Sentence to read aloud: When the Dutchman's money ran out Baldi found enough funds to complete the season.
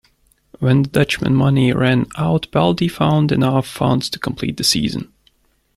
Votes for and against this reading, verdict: 1, 2, rejected